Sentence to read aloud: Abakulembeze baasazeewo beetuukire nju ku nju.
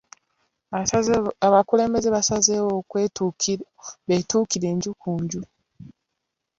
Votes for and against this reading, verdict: 0, 2, rejected